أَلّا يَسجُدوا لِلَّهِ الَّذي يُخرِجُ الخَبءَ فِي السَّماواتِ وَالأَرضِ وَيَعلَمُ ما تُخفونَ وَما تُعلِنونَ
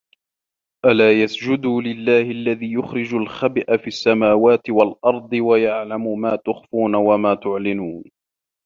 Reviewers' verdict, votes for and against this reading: rejected, 1, 2